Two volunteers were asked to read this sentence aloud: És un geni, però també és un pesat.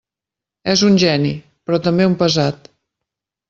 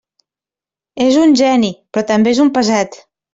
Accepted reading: second